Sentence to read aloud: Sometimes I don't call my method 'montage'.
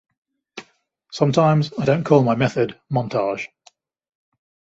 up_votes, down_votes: 2, 0